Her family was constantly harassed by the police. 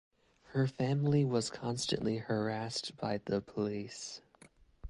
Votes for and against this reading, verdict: 2, 1, accepted